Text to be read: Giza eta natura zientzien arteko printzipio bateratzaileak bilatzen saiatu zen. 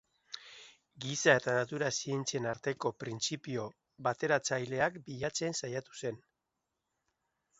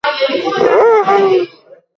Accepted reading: first